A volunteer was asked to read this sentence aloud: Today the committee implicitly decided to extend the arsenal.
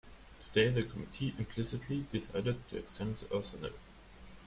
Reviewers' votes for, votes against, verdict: 0, 2, rejected